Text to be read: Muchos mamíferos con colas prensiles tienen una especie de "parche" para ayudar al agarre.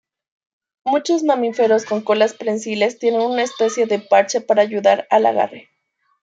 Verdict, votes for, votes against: rejected, 1, 2